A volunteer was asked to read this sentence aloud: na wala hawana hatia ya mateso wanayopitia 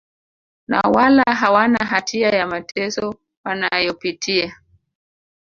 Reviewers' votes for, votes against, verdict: 1, 2, rejected